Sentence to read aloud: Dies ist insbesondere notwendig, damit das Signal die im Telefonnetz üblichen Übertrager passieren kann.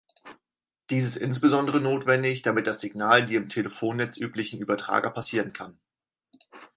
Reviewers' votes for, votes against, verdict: 4, 0, accepted